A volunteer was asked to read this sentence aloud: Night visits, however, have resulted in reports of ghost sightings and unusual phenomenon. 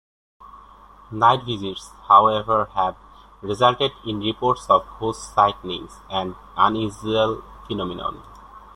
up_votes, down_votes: 0, 2